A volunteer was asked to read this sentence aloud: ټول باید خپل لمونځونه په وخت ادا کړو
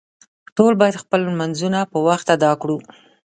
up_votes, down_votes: 2, 0